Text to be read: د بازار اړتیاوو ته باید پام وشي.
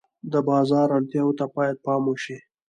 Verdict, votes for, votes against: accepted, 2, 1